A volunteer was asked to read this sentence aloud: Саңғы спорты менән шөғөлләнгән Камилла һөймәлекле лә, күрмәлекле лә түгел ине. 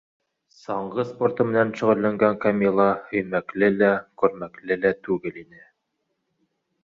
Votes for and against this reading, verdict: 1, 2, rejected